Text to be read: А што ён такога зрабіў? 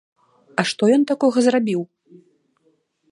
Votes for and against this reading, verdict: 3, 0, accepted